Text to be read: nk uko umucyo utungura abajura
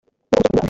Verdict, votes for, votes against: rejected, 1, 2